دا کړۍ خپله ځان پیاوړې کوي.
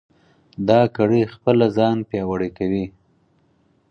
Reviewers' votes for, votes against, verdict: 4, 0, accepted